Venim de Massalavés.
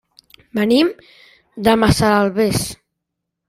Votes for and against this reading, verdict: 1, 2, rejected